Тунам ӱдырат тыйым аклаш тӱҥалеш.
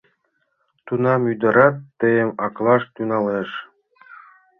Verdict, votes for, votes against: accepted, 2, 0